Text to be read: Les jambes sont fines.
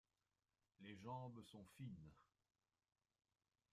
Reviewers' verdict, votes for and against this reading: rejected, 0, 2